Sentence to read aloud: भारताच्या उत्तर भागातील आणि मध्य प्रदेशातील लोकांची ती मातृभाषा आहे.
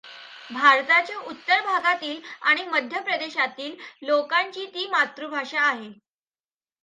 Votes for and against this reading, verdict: 2, 0, accepted